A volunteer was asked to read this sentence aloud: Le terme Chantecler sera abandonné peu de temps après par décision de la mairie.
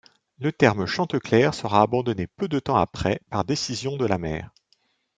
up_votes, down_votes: 1, 2